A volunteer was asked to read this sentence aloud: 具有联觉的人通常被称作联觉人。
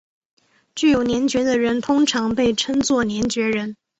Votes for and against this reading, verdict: 2, 0, accepted